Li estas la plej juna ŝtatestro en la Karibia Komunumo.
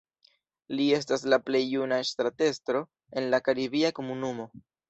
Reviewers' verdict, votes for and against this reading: rejected, 0, 2